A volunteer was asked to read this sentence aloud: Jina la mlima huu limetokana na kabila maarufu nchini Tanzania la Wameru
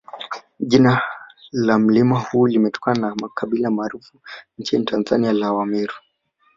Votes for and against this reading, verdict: 0, 2, rejected